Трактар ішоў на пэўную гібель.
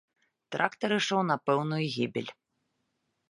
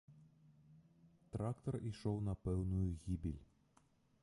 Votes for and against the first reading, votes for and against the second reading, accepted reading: 2, 0, 0, 2, first